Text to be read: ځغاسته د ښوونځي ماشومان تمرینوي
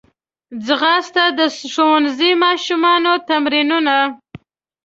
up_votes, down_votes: 1, 2